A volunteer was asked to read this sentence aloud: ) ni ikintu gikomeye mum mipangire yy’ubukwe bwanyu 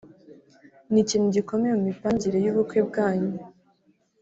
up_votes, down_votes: 0, 2